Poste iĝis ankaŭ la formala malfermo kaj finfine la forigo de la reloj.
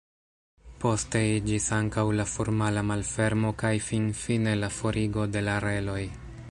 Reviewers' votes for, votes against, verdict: 2, 0, accepted